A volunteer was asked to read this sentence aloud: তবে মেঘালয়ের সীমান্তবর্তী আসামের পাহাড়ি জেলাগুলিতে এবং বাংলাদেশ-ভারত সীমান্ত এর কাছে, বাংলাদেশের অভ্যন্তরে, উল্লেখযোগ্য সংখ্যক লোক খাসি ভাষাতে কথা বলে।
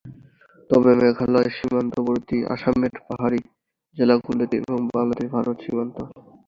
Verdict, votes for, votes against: rejected, 0, 2